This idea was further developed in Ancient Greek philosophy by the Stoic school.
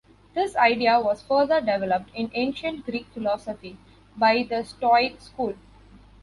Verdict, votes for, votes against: accepted, 2, 0